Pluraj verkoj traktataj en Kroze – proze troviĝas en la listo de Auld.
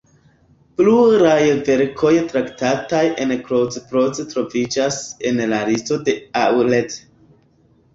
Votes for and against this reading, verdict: 1, 2, rejected